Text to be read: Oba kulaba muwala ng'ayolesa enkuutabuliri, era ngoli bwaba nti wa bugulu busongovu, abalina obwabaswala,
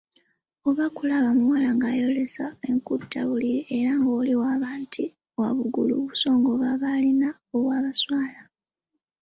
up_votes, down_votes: 0, 2